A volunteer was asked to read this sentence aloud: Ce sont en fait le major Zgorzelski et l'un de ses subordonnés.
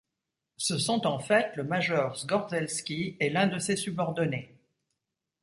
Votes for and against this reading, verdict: 2, 0, accepted